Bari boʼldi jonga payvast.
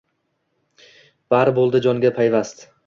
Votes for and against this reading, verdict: 2, 0, accepted